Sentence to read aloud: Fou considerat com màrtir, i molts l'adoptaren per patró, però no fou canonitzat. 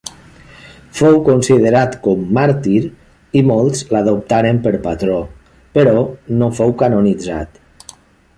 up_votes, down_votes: 2, 0